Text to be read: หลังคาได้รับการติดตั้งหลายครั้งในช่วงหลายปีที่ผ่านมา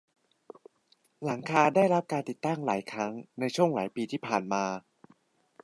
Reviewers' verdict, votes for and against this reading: accepted, 2, 0